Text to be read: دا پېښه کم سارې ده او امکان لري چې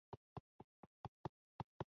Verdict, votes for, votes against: rejected, 1, 2